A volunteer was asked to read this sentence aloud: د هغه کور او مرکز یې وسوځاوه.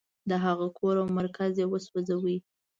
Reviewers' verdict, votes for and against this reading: accepted, 2, 0